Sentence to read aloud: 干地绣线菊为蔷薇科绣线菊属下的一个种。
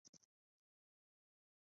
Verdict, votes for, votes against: rejected, 0, 2